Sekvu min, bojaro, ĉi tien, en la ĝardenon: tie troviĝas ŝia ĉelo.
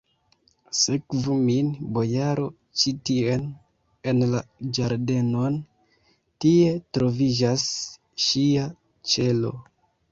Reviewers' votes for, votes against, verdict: 1, 2, rejected